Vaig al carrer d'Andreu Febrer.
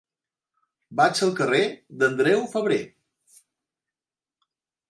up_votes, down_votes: 3, 0